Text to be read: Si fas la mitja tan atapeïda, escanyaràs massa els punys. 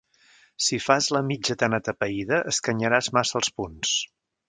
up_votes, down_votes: 1, 2